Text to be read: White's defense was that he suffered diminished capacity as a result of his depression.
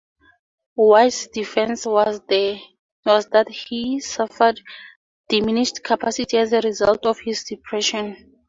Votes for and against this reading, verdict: 0, 2, rejected